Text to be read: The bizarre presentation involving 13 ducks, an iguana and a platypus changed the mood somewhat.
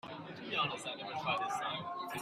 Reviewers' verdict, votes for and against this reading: rejected, 0, 2